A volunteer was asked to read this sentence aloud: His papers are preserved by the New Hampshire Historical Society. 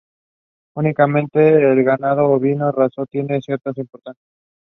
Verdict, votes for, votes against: rejected, 0, 2